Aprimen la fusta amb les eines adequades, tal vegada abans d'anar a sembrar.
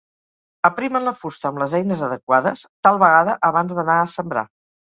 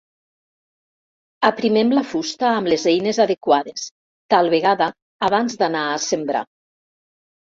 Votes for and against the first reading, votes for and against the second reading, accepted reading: 4, 0, 1, 2, first